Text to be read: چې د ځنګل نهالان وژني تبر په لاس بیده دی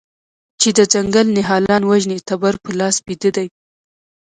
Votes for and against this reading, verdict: 2, 1, accepted